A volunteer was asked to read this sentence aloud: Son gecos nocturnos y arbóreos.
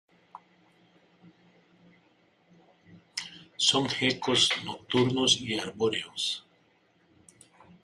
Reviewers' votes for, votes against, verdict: 2, 0, accepted